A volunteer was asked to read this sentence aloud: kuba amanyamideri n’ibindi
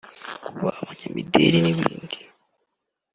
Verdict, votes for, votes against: rejected, 1, 2